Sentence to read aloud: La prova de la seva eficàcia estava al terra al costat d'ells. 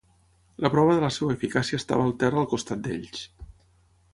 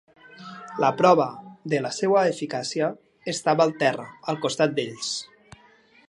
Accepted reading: second